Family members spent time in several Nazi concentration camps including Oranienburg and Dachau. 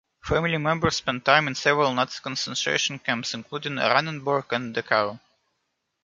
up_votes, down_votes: 0, 2